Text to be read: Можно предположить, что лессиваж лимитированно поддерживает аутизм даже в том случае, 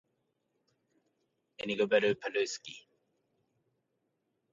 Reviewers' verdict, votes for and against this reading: rejected, 0, 2